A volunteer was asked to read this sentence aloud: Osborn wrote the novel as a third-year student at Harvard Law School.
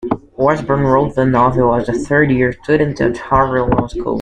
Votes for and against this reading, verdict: 2, 0, accepted